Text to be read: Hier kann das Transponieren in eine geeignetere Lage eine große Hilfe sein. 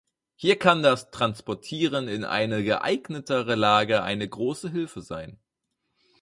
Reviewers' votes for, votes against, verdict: 2, 6, rejected